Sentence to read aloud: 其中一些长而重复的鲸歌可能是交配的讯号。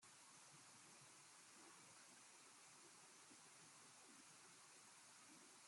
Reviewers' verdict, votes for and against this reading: rejected, 0, 2